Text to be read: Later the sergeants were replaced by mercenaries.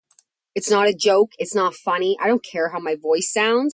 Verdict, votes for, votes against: rejected, 0, 2